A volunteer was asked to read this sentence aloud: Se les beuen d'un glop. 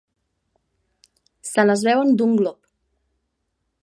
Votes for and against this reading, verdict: 2, 0, accepted